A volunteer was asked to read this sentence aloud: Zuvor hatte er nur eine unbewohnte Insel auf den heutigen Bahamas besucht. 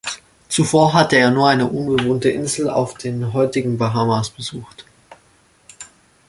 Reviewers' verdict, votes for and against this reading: accepted, 2, 0